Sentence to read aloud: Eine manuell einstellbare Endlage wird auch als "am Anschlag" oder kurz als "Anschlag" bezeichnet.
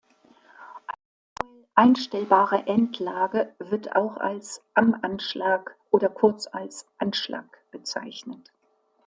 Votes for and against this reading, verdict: 0, 2, rejected